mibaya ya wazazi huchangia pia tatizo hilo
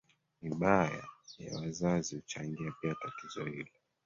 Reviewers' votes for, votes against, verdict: 0, 2, rejected